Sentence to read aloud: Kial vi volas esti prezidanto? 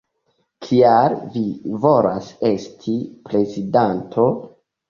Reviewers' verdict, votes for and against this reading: rejected, 1, 2